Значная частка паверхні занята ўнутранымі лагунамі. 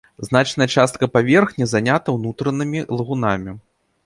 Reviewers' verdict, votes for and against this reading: rejected, 1, 2